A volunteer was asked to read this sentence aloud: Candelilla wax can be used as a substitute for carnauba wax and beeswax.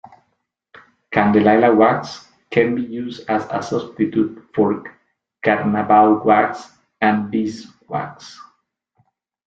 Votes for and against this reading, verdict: 2, 0, accepted